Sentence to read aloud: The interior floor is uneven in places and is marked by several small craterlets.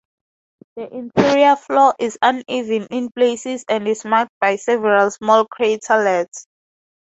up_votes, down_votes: 2, 0